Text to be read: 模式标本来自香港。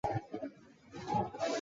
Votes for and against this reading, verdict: 0, 2, rejected